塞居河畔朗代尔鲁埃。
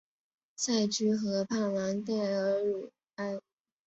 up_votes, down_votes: 3, 0